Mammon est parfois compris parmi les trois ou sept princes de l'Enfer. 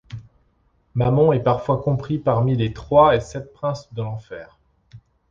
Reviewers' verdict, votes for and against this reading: rejected, 0, 2